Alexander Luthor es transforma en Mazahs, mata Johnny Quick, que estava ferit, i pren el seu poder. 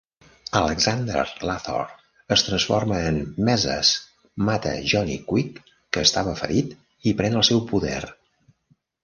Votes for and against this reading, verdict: 1, 2, rejected